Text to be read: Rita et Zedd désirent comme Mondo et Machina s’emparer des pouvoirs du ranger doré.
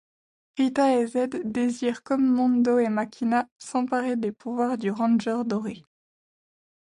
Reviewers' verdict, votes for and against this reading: accepted, 2, 0